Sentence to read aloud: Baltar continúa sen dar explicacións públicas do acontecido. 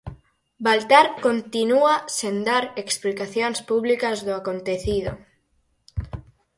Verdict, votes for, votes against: accepted, 4, 0